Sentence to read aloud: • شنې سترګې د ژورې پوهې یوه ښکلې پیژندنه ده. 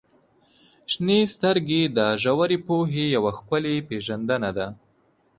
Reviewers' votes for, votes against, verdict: 2, 0, accepted